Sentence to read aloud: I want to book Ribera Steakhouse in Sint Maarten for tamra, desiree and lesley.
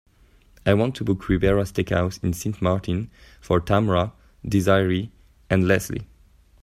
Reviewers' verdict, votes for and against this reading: accepted, 2, 0